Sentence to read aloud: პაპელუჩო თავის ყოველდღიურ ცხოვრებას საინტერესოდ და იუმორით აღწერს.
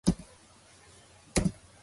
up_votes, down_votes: 0, 2